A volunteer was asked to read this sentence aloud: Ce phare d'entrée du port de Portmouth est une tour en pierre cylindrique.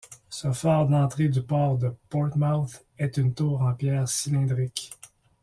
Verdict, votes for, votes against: accepted, 2, 0